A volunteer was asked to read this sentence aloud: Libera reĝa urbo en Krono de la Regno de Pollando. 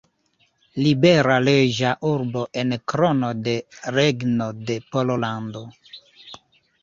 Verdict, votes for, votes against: rejected, 0, 2